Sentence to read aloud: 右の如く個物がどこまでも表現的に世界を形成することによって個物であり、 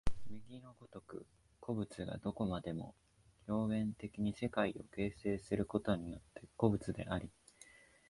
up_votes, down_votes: 0, 2